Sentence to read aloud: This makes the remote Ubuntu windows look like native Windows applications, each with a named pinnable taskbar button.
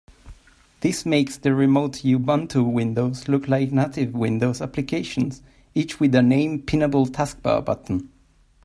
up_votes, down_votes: 2, 1